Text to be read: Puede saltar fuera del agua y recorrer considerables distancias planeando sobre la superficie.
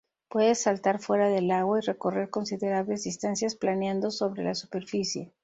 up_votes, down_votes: 0, 2